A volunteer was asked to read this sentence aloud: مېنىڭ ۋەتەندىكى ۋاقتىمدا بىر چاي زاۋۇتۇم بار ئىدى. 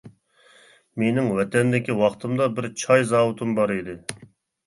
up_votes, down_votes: 2, 0